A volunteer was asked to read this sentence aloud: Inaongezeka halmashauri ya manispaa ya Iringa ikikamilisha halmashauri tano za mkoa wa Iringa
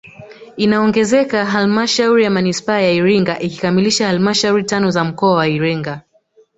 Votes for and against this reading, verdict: 2, 1, accepted